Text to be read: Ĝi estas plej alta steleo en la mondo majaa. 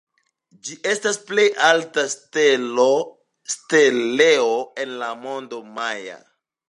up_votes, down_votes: 1, 2